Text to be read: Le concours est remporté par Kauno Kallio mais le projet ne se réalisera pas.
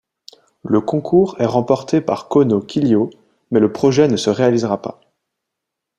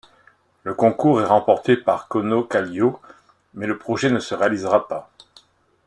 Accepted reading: second